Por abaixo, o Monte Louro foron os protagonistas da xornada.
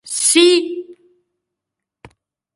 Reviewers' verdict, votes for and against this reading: rejected, 0, 2